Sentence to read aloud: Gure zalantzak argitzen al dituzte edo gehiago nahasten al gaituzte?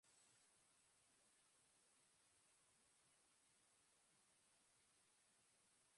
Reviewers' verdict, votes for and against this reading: rejected, 0, 3